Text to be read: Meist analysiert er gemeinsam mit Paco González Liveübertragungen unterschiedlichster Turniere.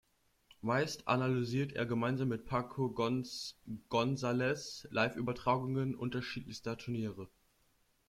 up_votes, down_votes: 1, 2